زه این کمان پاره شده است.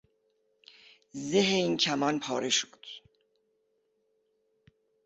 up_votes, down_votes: 0, 2